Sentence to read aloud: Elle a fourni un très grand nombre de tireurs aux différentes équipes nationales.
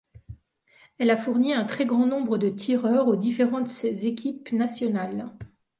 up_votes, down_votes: 2, 0